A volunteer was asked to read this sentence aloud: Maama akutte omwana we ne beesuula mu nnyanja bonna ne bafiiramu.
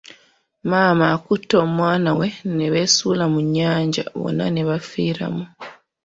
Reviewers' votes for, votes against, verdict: 2, 1, accepted